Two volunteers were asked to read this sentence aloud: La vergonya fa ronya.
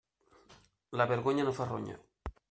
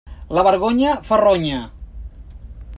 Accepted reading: second